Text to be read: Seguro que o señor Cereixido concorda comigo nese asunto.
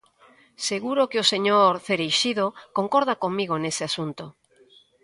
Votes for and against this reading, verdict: 2, 0, accepted